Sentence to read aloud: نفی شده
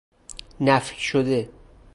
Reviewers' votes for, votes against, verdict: 4, 0, accepted